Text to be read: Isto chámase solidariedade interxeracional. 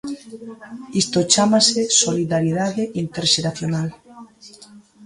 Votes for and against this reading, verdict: 2, 1, accepted